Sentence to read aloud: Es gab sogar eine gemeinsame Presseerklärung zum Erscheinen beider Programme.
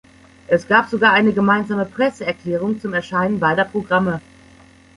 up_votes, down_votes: 2, 0